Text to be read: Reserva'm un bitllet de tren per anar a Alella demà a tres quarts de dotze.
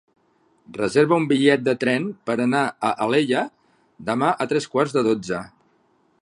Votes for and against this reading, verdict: 1, 2, rejected